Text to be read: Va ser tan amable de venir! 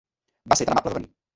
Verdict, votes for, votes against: accepted, 2, 1